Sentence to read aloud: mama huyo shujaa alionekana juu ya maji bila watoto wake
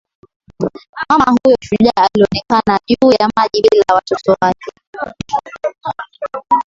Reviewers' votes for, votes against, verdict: 11, 4, accepted